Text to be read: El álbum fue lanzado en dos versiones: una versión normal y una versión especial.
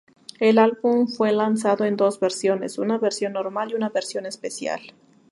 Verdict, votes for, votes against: rejected, 0, 2